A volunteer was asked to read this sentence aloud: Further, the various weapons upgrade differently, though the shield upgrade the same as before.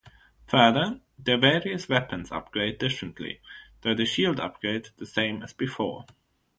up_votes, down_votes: 3, 3